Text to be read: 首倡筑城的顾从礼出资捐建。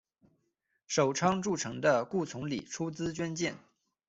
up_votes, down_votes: 2, 0